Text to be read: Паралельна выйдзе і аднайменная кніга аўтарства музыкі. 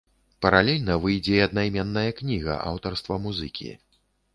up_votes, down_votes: 2, 0